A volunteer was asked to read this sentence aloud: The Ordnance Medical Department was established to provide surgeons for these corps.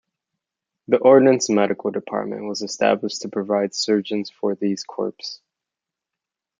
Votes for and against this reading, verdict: 2, 0, accepted